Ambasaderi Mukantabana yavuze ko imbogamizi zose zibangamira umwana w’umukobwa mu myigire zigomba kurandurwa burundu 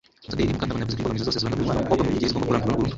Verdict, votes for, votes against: rejected, 0, 2